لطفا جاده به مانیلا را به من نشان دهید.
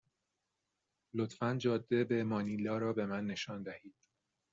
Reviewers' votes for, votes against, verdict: 2, 0, accepted